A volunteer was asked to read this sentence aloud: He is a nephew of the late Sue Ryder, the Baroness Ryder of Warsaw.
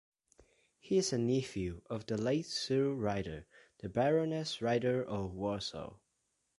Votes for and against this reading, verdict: 0, 2, rejected